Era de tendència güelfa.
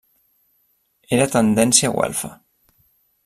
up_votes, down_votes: 1, 2